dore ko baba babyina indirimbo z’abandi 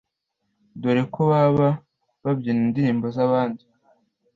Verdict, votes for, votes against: accepted, 2, 0